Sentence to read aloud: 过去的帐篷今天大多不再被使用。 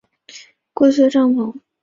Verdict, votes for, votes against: rejected, 1, 2